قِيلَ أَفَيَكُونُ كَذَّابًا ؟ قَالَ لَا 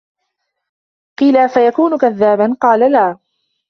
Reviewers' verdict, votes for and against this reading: accepted, 2, 0